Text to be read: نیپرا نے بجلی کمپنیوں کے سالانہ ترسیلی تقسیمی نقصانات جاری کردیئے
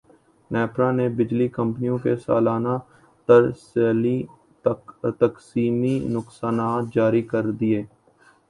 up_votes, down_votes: 1, 2